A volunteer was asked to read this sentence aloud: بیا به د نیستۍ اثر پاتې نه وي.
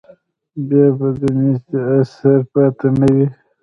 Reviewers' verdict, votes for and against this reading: rejected, 1, 2